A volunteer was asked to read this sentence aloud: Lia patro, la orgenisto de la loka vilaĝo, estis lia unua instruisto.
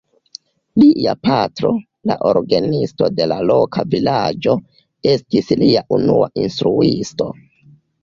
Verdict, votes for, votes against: rejected, 0, 2